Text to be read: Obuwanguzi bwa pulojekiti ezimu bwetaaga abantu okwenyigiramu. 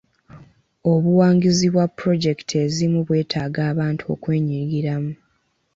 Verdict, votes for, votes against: rejected, 1, 2